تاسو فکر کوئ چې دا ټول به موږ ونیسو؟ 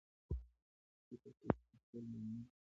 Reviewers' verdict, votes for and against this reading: rejected, 1, 2